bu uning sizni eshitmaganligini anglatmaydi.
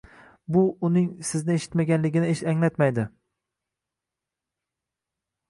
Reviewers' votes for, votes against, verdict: 0, 2, rejected